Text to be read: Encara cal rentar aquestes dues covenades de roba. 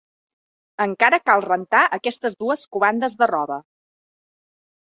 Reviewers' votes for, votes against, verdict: 1, 2, rejected